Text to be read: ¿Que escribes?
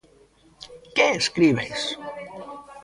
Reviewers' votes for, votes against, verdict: 1, 2, rejected